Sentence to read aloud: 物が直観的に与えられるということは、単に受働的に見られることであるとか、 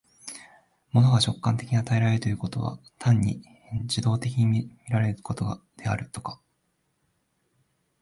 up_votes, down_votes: 0, 2